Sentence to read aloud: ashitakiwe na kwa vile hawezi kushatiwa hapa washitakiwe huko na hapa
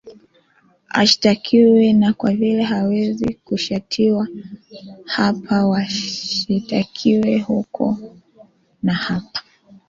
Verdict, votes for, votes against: accepted, 3, 1